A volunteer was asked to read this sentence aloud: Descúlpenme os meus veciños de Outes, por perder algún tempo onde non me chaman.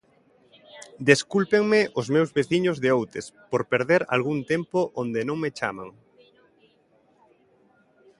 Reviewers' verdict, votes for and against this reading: accepted, 2, 1